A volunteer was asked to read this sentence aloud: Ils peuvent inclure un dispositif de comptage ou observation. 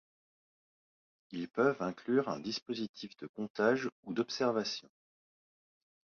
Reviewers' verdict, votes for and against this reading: rejected, 1, 2